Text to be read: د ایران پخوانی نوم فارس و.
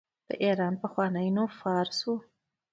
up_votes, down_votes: 2, 0